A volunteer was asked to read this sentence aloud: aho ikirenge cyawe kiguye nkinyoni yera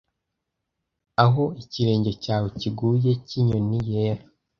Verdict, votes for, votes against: rejected, 1, 2